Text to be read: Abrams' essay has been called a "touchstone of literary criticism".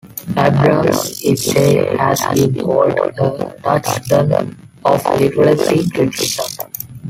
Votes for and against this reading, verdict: 2, 1, accepted